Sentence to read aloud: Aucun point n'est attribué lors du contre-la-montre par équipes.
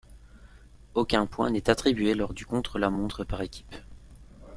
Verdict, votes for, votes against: accepted, 2, 0